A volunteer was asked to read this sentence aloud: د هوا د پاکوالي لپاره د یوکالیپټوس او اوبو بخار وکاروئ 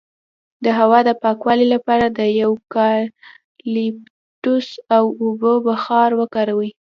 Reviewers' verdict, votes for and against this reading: rejected, 0, 2